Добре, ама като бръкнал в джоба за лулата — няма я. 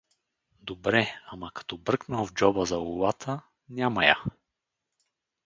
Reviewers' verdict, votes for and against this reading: accepted, 4, 2